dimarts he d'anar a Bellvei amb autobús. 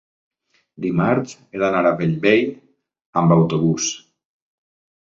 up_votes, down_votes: 3, 0